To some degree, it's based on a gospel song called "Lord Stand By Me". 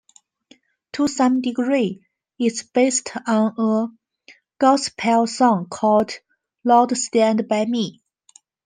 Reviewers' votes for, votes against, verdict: 2, 0, accepted